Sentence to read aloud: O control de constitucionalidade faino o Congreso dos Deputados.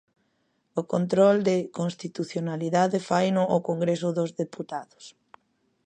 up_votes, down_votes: 2, 0